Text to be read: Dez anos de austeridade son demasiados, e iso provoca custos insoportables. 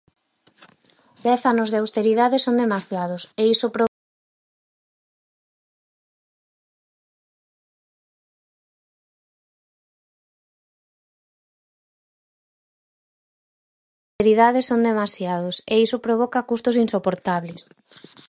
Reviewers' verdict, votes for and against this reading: rejected, 0, 4